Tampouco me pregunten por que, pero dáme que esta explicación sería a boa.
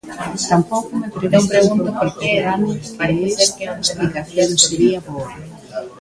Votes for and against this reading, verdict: 0, 2, rejected